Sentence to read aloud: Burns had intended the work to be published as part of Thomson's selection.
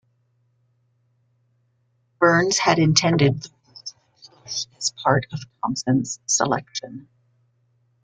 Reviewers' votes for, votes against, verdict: 0, 2, rejected